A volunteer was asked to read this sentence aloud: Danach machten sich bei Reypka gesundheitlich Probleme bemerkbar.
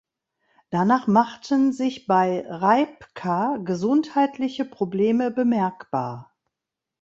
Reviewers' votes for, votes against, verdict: 2, 3, rejected